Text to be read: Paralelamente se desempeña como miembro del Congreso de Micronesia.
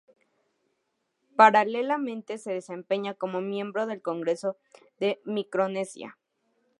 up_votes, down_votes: 2, 0